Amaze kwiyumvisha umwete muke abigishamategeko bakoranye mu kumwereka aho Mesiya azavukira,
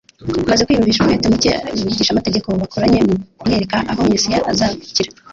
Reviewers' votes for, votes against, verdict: 0, 2, rejected